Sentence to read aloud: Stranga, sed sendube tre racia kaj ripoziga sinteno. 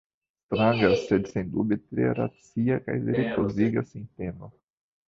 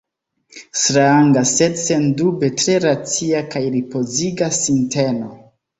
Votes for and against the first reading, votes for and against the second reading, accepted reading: 1, 2, 2, 0, second